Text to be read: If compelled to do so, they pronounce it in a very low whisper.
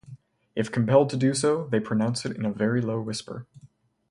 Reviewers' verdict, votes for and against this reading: accepted, 2, 0